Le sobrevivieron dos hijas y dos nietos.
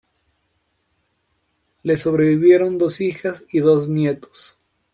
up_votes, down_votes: 2, 0